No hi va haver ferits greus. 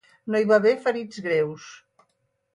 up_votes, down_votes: 6, 0